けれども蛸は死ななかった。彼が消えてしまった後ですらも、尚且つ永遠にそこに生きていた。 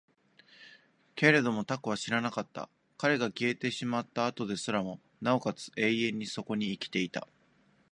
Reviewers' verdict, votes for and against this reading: accepted, 2, 0